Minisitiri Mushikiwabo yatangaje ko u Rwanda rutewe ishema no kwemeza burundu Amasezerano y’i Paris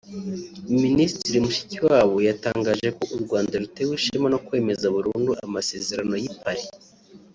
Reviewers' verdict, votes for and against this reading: accepted, 2, 0